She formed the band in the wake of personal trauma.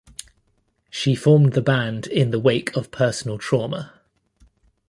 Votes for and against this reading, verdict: 2, 0, accepted